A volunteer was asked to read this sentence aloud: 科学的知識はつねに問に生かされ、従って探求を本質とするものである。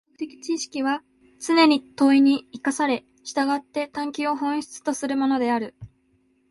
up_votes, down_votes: 2, 0